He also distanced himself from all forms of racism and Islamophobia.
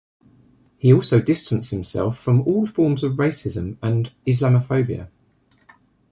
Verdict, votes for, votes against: accepted, 2, 0